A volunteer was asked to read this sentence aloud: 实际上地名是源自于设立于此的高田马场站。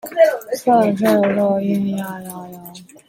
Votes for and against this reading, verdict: 0, 2, rejected